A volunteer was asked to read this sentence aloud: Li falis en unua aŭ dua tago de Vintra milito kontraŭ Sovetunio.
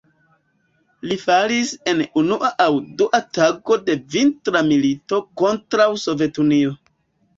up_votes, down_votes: 2, 0